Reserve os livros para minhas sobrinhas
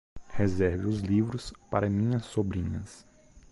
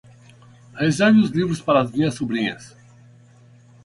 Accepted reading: first